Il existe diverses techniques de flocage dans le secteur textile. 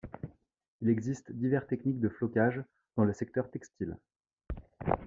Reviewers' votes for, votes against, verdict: 1, 2, rejected